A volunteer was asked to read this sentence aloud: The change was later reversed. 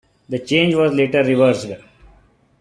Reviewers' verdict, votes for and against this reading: accepted, 2, 1